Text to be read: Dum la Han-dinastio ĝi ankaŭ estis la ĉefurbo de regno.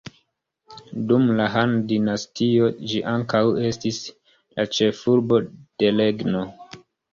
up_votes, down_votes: 2, 1